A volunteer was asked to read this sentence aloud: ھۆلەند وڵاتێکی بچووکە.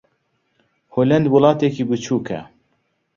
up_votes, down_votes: 2, 0